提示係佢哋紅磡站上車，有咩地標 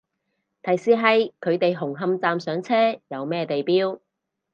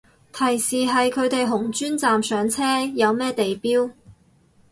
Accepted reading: first